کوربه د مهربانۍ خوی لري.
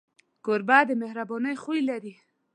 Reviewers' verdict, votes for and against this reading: accepted, 2, 0